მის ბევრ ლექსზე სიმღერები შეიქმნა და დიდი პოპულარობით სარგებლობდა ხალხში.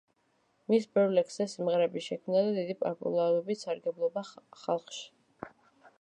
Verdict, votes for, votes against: rejected, 0, 2